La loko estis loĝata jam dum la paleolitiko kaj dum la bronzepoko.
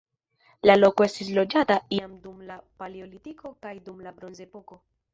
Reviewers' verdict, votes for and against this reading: rejected, 0, 2